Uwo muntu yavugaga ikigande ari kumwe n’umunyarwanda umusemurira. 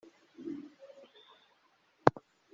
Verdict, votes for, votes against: rejected, 0, 2